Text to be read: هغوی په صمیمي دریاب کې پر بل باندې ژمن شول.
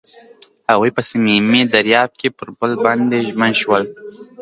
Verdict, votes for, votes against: accepted, 2, 0